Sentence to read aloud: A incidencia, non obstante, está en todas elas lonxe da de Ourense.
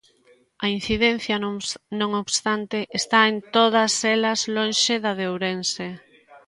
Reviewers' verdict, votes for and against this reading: rejected, 0, 2